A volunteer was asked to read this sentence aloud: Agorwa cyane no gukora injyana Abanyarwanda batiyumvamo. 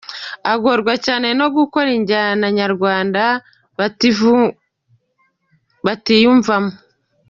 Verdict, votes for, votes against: rejected, 0, 2